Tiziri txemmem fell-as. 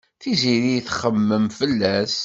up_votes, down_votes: 2, 0